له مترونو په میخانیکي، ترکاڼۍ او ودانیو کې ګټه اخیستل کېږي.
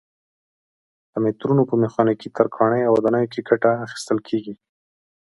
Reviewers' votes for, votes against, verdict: 2, 0, accepted